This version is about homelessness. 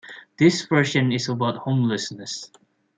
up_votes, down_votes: 3, 0